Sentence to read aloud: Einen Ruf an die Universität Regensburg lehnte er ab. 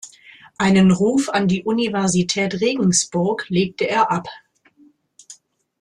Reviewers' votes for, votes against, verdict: 1, 2, rejected